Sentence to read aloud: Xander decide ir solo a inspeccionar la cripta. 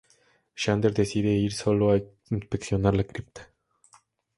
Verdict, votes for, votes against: accepted, 2, 0